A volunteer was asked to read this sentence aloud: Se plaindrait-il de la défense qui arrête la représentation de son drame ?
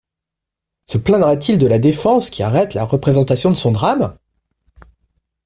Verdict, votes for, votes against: rejected, 1, 2